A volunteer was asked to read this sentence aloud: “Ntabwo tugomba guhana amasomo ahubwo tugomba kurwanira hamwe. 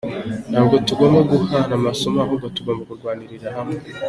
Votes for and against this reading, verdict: 2, 0, accepted